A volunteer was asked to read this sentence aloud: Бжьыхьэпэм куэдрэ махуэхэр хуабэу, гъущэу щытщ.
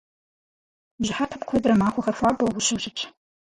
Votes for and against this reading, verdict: 0, 4, rejected